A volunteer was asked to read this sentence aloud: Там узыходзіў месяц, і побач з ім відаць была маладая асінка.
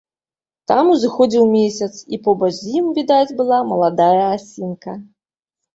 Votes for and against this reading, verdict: 3, 0, accepted